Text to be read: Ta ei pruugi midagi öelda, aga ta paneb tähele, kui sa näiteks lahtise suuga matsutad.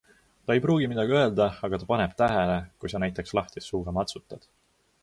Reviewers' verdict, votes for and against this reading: accepted, 2, 0